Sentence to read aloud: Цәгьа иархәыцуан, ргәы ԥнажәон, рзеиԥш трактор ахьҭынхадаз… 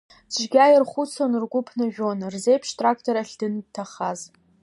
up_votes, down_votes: 1, 2